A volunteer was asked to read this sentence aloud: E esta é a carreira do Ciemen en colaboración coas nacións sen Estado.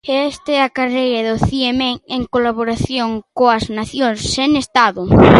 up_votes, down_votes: 0, 2